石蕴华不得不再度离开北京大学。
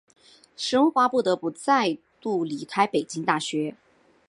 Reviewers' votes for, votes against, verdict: 2, 0, accepted